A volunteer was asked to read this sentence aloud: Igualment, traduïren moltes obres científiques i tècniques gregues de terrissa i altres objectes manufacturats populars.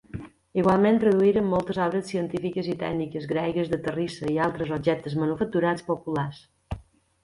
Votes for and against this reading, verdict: 2, 0, accepted